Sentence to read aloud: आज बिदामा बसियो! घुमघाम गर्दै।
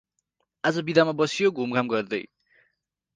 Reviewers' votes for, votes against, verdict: 2, 2, rejected